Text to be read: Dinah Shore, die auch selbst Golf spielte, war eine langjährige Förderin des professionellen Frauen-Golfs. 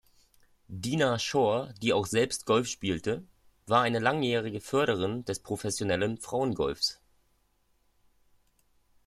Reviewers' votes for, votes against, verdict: 2, 0, accepted